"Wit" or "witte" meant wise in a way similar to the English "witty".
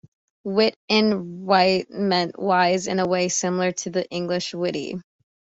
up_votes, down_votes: 1, 2